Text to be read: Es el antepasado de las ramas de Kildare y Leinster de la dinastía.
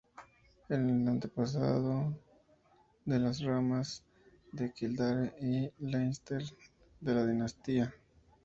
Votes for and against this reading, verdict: 0, 2, rejected